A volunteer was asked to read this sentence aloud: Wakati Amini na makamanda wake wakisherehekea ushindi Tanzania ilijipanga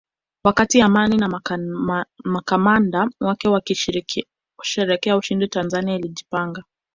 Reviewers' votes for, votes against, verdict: 0, 2, rejected